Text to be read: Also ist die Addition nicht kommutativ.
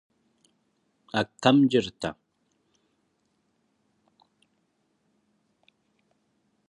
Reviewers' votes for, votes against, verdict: 0, 2, rejected